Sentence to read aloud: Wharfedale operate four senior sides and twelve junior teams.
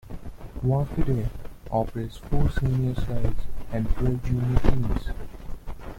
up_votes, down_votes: 0, 2